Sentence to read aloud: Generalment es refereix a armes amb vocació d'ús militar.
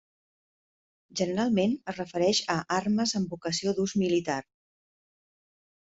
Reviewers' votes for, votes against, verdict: 2, 1, accepted